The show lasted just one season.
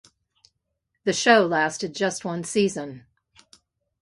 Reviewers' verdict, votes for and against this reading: accepted, 2, 0